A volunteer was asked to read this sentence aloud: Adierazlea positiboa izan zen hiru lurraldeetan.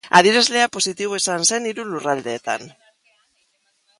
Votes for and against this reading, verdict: 4, 1, accepted